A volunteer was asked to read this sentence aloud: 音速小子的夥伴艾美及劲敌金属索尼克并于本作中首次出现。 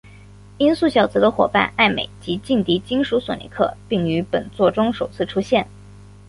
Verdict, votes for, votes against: accepted, 3, 0